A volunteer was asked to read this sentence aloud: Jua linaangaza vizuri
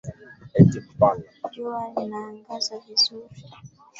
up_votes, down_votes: 1, 2